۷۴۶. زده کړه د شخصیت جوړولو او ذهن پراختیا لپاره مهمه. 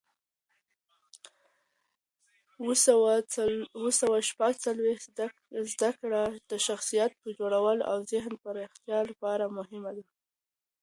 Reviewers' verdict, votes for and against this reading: rejected, 0, 2